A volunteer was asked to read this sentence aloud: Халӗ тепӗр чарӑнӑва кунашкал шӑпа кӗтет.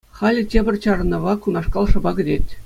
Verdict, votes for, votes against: accepted, 2, 0